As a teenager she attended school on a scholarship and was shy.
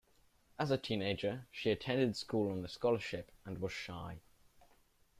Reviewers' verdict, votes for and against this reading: rejected, 1, 2